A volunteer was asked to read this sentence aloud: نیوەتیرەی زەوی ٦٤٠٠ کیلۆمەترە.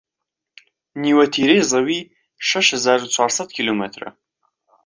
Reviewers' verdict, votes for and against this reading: rejected, 0, 2